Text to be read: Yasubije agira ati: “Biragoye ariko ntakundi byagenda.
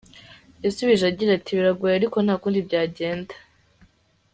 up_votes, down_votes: 3, 0